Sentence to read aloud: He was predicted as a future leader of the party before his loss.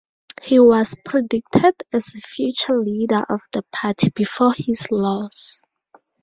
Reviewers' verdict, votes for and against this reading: accepted, 2, 0